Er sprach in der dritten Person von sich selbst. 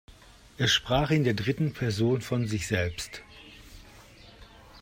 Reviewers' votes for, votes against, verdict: 3, 0, accepted